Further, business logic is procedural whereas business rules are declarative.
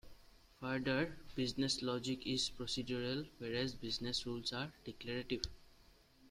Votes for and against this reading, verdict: 2, 1, accepted